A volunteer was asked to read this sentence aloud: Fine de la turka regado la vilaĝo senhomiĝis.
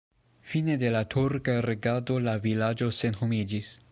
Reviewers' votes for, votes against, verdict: 2, 0, accepted